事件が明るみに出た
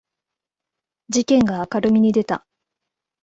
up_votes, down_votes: 2, 0